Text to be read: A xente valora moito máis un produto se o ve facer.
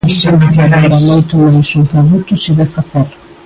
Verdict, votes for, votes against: rejected, 0, 2